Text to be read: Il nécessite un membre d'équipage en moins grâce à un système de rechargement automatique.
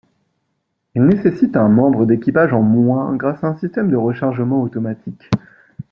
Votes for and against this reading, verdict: 1, 2, rejected